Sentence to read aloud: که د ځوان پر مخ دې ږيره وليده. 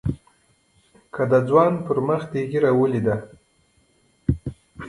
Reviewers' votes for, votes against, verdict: 2, 0, accepted